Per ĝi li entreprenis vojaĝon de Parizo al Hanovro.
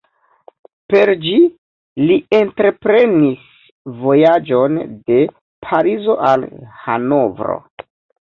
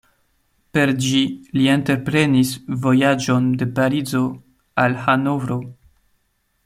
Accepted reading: second